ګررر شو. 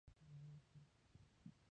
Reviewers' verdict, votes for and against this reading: rejected, 0, 2